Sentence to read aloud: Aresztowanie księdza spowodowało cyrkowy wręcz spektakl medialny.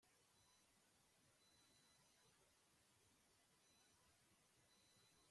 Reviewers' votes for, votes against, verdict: 0, 2, rejected